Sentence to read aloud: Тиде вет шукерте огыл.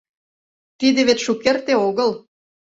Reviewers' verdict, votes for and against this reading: accepted, 2, 0